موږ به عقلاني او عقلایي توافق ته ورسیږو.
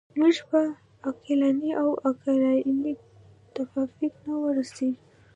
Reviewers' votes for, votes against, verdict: 0, 2, rejected